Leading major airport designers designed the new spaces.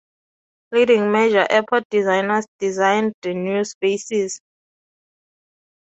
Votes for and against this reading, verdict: 2, 0, accepted